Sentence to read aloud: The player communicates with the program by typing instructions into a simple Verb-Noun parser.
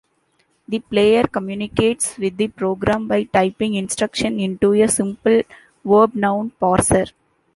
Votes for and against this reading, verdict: 1, 2, rejected